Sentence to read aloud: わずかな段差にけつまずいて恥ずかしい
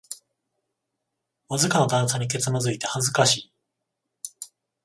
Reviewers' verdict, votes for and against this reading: accepted, 14, 0